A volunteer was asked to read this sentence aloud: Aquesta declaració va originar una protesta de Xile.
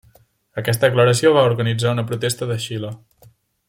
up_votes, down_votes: 1, 2